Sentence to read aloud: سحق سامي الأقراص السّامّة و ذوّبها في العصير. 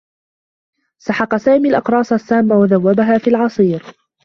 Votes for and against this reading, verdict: 1, 2, rejected